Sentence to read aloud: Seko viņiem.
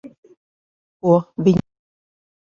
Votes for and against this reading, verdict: 0, 3, rejected